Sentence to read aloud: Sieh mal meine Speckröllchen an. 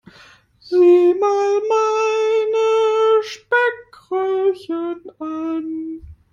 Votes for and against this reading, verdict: 0, 2, rejected